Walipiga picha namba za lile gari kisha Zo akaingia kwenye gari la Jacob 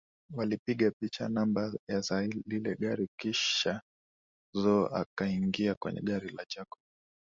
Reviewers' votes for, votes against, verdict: 2, 0, accepted